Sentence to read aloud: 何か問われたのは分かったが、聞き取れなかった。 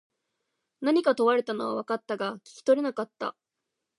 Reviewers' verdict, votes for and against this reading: accepted, 2, 0